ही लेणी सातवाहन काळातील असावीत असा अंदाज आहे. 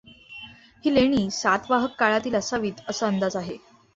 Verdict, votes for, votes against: accepted, 2, 0